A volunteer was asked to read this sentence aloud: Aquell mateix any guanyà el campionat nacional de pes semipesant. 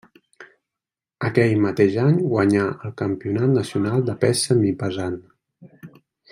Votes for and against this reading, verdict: 2, 0, accepted